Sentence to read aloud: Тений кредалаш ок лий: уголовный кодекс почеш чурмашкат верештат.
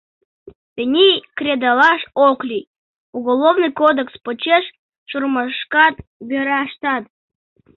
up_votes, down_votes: 1, 2